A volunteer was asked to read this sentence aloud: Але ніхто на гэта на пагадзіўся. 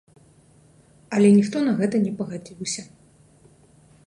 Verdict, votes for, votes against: accepted, 2, 0